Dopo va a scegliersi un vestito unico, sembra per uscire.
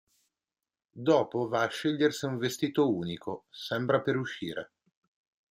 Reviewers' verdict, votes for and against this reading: accepted, 2, 0